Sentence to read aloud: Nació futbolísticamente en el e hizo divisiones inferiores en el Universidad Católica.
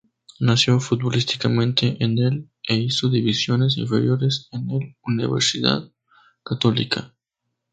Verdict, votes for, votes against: accepted, 2, 0